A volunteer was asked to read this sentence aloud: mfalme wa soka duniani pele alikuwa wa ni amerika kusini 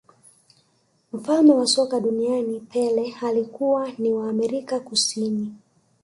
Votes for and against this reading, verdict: 3, 0, accepted